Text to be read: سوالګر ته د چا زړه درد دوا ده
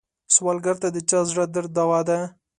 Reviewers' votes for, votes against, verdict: 2, 0, accepted